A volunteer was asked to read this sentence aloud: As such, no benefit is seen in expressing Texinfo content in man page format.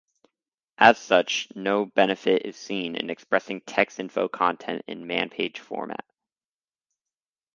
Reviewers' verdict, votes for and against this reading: accepted, 4, 0